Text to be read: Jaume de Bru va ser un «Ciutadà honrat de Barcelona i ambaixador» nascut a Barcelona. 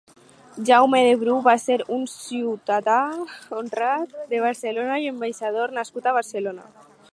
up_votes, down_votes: 4, 0